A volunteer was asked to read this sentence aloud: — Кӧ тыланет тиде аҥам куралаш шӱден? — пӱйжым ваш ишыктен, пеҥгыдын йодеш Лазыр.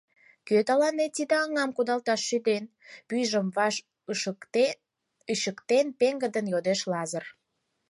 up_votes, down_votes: 2, 4